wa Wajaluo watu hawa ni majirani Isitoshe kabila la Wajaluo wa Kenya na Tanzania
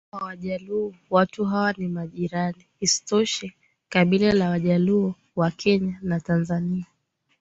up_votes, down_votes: 2, 0